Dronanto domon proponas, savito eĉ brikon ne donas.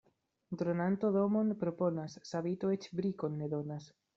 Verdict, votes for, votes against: rejected, 0, 2